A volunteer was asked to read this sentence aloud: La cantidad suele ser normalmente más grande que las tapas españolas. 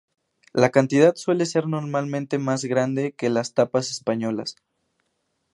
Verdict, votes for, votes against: rejected, 2, 2